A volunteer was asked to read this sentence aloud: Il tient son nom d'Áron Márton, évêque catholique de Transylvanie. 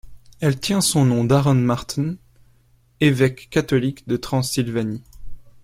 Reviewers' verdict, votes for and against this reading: rejected, 0, 2